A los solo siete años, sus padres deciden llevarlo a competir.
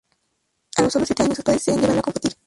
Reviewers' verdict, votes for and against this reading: rejected, 0, 2